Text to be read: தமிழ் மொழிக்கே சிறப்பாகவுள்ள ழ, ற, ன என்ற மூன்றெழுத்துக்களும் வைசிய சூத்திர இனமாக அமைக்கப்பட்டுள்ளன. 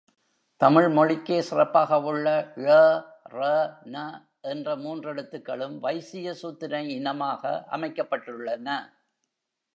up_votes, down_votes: 2, 0